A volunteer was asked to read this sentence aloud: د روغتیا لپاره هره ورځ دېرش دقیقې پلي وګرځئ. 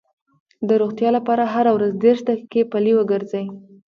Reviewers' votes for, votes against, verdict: 1, 2, rejected